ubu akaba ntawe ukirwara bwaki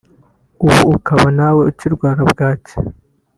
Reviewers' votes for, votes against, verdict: 1, 2, rejected